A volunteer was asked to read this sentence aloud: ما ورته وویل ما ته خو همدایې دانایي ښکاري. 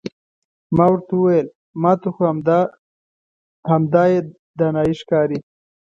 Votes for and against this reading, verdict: 1, 2, rejected